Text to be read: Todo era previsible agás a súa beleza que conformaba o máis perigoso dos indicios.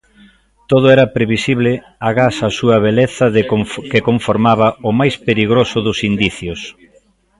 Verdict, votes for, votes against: rejected, 0, 2